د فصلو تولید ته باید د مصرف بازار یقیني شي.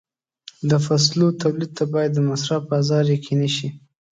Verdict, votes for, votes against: accepted, 2, 0